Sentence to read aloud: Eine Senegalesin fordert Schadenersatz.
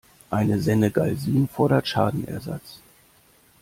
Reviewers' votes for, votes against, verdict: 0, 2, rejected